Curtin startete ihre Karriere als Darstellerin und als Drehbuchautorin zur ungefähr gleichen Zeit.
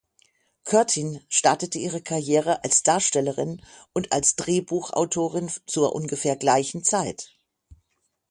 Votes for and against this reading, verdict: 6, 0, accepted